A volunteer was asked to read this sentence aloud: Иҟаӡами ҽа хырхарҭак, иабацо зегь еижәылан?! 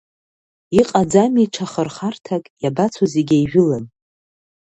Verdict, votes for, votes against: accepted, 2, 0